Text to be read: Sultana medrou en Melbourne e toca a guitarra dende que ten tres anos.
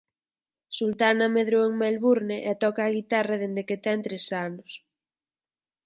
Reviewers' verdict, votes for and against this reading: accepted, 4, 0